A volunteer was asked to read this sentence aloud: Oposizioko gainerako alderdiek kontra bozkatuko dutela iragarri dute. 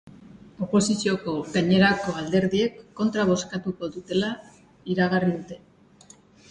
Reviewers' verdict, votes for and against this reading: accepted, 2, 0